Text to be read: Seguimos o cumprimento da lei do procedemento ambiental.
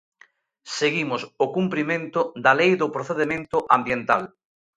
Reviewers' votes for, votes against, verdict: 2, 0, accepted